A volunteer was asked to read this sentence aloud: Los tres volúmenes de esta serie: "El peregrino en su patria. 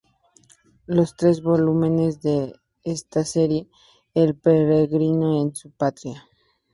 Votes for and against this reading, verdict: 0, 2, rejected